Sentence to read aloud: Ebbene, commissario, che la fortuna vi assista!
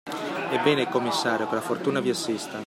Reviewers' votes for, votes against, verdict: 2, 0, accepted